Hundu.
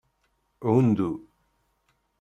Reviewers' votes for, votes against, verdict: 2, 0, accepted